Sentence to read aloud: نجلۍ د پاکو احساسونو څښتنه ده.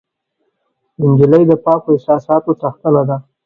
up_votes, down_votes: 1, 2